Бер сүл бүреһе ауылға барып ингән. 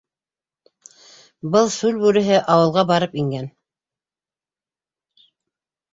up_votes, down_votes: 1, 2